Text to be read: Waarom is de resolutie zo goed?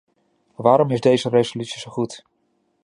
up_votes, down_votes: 0, 2